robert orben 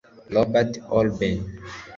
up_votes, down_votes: 0, 2